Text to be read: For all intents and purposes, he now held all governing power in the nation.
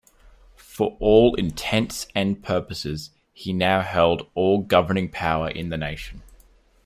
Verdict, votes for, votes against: accepted, 2, 0